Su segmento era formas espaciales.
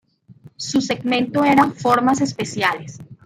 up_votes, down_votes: 0, 2